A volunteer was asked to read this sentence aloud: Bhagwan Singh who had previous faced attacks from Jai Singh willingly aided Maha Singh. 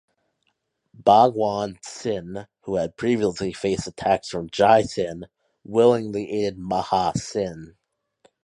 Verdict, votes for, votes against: rejected, 1, 2